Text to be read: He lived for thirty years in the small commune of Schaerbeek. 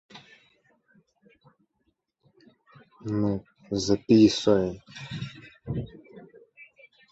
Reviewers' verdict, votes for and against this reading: rejected, 0, 2